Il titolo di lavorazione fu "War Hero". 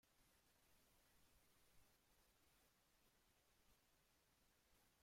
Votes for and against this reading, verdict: 0, 2, rejected